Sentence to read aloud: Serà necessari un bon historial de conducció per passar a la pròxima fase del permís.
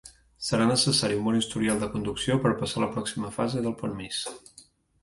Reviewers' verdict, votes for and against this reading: accepted, 2, 0